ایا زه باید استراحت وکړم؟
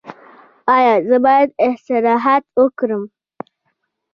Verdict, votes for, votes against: rejected, 0, 2